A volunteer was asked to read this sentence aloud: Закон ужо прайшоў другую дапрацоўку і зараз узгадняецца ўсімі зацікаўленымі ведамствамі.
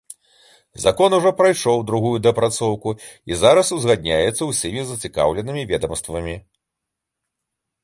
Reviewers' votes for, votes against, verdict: 2, 0, accepted